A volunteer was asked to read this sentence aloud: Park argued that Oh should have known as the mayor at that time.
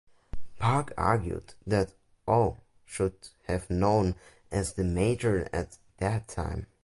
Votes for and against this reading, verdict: 0, 2, rejected